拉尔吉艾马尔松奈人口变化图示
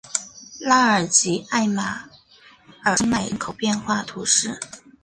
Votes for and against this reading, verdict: 0, 2, rejected